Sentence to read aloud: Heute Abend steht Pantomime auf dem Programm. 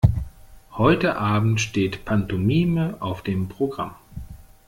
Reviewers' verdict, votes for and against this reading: accepted, 2, 0